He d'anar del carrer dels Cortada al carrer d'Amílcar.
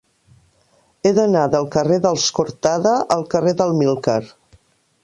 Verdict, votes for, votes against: rejected, 1, 2